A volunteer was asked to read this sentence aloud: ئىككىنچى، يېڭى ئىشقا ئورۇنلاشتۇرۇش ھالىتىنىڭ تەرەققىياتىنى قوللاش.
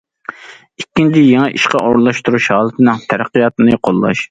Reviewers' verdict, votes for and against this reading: accepted, 2, 0